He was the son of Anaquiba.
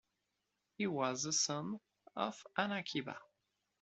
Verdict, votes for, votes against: accepted, 2, 0